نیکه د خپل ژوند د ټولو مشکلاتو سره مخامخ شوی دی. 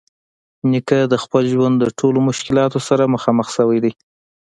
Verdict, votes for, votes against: accepted, 2, 0